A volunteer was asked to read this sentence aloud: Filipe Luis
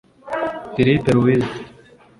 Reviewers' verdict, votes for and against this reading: rejected, 0, 2